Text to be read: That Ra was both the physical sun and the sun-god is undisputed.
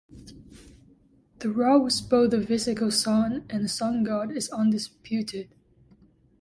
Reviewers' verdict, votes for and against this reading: rejected, 0, 2